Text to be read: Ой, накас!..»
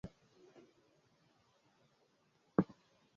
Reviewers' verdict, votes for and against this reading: rejected, 0, 2